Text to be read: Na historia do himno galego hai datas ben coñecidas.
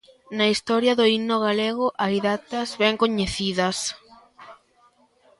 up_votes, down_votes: 1, 2